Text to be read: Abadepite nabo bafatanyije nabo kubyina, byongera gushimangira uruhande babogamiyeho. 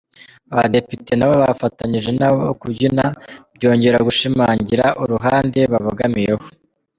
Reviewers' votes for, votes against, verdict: 2, 0, accepted